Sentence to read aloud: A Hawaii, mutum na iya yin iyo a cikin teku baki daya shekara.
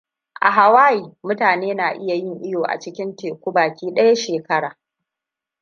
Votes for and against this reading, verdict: 1, 2, rejected